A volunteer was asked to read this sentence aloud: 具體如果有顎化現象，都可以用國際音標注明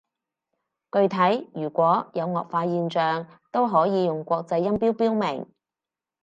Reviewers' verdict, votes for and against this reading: rejected, 0, 4